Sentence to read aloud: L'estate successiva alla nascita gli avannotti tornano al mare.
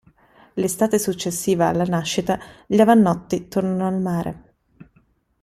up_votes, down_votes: 0, 2